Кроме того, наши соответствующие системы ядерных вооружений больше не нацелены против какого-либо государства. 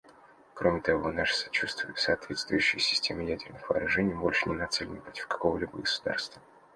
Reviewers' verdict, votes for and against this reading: rejected, 0, 2